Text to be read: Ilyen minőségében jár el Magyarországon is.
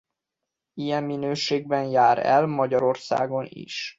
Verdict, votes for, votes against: rejected, 0, 2